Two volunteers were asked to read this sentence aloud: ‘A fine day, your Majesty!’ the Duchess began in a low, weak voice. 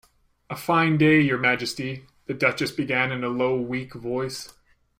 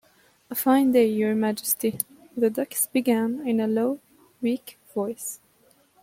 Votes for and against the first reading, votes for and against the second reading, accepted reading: 2, 1, 0, 2, first